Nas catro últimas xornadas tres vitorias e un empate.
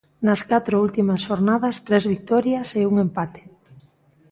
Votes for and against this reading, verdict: 2, 1, accepted